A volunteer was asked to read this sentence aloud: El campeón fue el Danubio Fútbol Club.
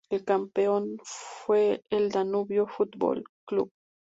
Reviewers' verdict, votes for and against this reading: accepted, 2, 0